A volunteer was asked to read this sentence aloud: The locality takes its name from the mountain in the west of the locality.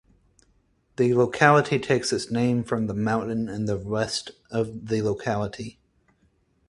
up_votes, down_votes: 4, 0